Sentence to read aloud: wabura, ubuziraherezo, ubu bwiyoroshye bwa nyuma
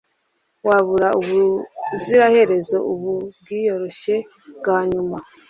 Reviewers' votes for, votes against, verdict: 2, 0, accepted